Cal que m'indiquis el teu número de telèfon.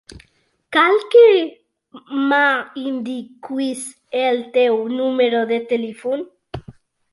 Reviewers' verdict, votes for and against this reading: rejected, 1, 2